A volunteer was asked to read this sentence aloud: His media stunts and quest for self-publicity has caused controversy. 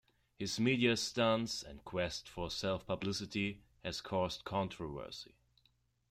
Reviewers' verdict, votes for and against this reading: accepted, 2, 0